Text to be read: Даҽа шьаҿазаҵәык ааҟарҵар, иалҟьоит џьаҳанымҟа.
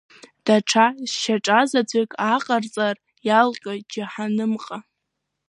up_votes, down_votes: 2, 0